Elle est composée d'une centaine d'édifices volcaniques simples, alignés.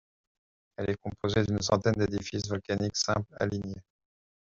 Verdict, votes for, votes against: accepted, 2, 0